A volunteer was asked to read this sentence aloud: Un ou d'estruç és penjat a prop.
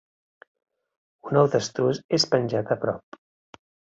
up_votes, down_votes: 2, 0